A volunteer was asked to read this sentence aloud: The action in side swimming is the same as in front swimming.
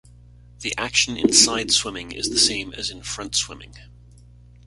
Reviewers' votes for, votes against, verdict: 2, 0, accepted